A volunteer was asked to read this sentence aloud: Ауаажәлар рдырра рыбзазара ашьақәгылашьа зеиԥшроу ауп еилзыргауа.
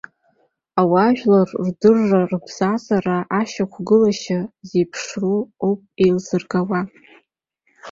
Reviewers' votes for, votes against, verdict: 3, 0, accepted